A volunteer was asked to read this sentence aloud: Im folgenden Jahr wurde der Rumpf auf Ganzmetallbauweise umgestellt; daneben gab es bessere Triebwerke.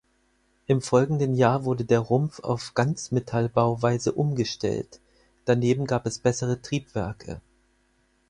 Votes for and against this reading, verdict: 4, 0, accepted